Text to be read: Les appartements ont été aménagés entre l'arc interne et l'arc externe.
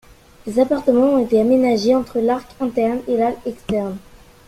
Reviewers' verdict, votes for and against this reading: accepted, 2, 1